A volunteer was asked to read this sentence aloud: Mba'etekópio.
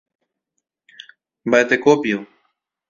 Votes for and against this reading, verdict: 2, 0, accepted